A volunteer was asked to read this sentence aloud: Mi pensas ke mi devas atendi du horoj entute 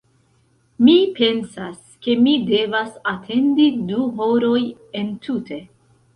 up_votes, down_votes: 2, 0